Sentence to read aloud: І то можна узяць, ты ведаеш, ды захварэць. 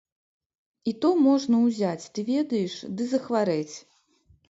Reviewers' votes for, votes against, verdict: 2, 0, accepted